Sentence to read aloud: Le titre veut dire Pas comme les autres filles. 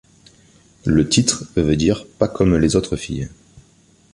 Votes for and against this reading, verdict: 2, 0, accepted